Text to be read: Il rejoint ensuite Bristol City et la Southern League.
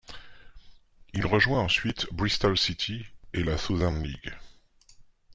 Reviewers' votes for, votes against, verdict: 2, 0, accepted